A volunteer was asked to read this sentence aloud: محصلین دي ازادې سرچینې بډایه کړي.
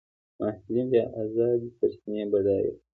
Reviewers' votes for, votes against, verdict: 2, 0, accepted